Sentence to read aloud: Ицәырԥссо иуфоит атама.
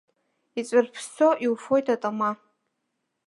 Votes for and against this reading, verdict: 3, 1, accepted